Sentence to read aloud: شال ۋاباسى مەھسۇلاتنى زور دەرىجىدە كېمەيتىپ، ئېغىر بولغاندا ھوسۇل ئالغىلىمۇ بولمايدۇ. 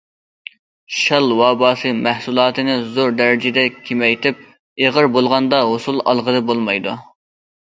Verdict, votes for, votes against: rejected, 0, 2